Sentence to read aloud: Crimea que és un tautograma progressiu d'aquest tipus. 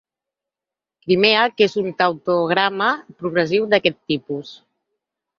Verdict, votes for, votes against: accepted, 4, 0